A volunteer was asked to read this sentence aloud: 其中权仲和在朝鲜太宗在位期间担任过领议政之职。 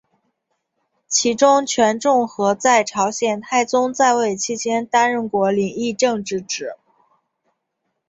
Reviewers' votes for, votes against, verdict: 2, 0, accepted